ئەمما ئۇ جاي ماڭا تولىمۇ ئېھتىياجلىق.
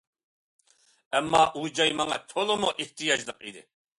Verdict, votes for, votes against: rejected, 0, 2